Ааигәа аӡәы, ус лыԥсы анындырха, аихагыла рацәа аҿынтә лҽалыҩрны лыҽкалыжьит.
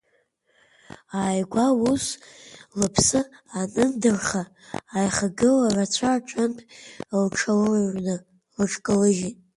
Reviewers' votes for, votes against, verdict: 2, 0, accepted